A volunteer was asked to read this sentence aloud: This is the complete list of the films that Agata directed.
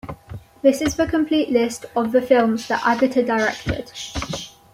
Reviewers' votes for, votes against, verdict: 2, 0, accepted